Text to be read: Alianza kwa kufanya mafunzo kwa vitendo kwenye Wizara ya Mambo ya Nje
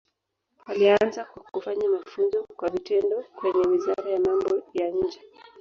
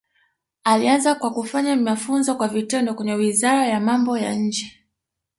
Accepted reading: second